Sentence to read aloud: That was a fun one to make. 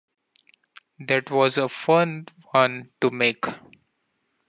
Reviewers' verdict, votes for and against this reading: accepted, 2, 0